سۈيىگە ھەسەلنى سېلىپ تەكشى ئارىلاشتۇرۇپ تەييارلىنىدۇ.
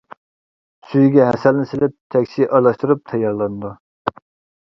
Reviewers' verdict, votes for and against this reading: accepted, 2, 0